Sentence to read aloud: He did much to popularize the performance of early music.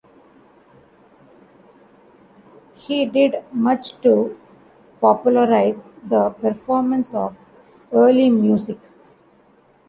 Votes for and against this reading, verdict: 2, 0, accepted